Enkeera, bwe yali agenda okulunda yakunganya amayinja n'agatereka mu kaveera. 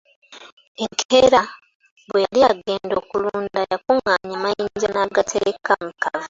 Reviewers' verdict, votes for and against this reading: rejected, 0, 2